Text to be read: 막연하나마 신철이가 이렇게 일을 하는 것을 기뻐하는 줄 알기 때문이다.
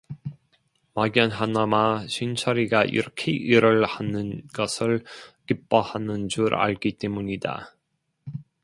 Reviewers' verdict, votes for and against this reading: accepted, 2, 0